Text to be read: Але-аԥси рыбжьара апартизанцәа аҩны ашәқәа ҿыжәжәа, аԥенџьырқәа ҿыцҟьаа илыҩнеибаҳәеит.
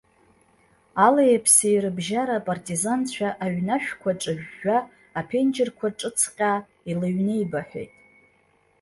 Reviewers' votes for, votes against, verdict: 2, 0, accepted